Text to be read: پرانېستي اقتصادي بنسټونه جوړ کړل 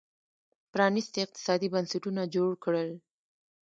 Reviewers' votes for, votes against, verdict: 0, 2, rejected